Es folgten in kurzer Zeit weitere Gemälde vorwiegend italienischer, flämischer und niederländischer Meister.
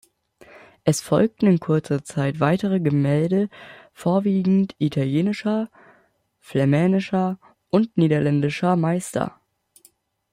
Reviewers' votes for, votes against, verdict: 0, 2, rejected